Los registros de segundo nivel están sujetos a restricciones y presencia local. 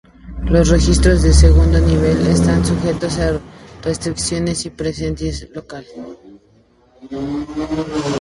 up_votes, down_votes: 2, 0